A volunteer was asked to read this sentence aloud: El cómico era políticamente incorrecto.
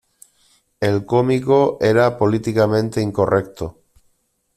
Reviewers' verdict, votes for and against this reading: accepted, 2, 0